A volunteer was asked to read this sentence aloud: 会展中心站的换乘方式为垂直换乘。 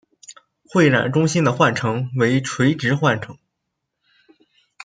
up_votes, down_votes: 0, 2